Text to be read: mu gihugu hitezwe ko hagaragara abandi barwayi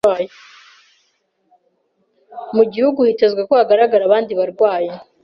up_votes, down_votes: 1, 2